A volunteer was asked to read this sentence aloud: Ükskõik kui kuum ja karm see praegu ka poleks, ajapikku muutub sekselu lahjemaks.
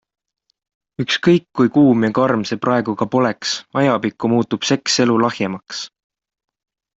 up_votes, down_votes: 2, 0